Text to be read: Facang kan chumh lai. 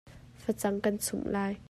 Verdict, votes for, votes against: accepted, 2, 0